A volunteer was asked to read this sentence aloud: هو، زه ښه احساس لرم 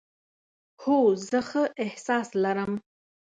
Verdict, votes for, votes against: accepted, 2, 0